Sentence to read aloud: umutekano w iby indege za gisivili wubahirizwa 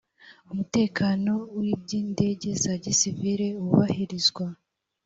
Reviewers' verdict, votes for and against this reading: accepted, 3, 0